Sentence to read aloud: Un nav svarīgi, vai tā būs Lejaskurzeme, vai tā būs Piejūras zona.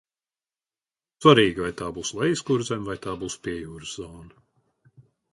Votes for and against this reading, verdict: 0, 2, rejected